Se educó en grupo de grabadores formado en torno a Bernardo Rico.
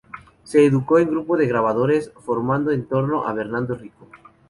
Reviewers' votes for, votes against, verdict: 2, 2, rejected